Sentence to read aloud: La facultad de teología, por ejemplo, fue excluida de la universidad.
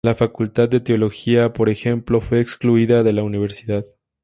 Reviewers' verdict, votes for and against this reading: accepted, 2, 0